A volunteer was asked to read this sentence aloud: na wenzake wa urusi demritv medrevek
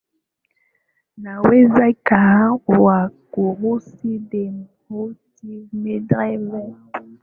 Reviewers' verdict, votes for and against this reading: rejected, 1, 2